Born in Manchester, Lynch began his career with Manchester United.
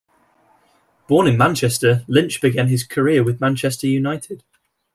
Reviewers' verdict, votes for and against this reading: accepted, 2, 0